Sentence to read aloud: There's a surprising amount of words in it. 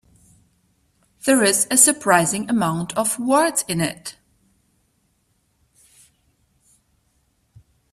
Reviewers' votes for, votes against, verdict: 0, 2, rejected